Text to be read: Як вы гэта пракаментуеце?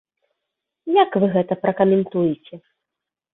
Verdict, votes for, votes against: accepted, 2, 0